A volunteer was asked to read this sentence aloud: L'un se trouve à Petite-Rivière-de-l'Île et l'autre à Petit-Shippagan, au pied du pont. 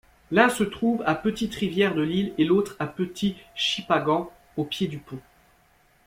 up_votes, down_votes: 2, 0